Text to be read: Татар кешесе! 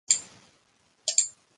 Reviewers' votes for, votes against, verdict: 0, 2, rejected